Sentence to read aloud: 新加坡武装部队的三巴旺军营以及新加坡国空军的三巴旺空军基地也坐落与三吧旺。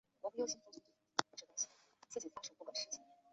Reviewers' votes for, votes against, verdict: 1, 2, rejected